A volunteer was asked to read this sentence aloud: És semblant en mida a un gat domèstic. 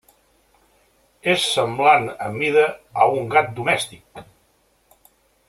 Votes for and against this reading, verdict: 2, 0, accepted